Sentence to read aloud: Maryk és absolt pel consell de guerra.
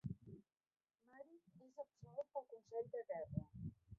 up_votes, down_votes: 0, 2